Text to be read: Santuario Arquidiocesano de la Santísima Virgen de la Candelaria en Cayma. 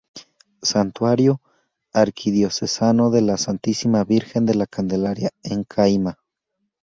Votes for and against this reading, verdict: 2, 0, accepted